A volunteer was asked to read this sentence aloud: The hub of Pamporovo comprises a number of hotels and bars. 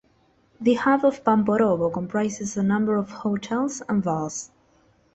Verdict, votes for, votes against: accepted, 2, 0